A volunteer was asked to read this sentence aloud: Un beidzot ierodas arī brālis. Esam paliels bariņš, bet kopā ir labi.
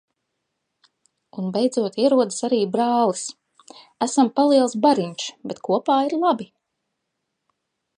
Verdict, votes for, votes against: accepted, 2, 0